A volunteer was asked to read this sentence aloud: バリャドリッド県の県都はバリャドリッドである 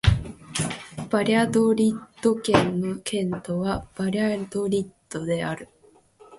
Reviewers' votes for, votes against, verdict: 7, 0, accepted